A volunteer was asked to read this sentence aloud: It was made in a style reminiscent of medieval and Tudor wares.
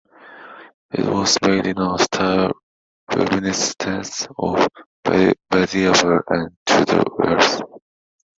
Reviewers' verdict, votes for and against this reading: accepted, 2, 1